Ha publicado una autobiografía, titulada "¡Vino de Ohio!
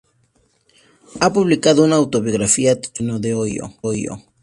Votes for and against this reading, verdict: 0, 2, rejected